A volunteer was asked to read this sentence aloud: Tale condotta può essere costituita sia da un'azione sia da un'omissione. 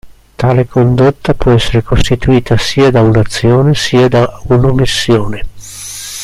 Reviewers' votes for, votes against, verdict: 2, 0, accepted